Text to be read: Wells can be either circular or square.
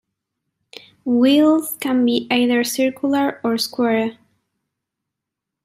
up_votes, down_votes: 1, 2